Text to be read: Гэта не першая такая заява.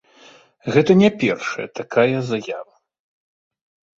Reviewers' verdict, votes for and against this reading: accepted, 2, 0